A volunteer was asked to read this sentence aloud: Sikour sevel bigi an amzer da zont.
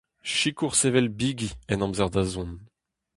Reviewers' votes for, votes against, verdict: 2, 2, rejected